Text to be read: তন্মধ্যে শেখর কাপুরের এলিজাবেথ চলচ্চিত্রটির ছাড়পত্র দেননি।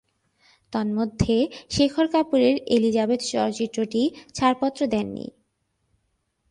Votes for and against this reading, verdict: 2, 0, accepted